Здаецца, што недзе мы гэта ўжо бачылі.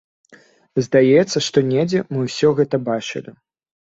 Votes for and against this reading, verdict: 1, 2, rejected